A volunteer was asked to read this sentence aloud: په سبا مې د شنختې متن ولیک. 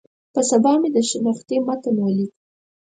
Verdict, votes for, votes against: accepted, 4, 0